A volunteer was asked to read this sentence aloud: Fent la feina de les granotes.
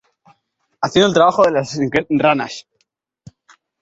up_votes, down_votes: 1, 2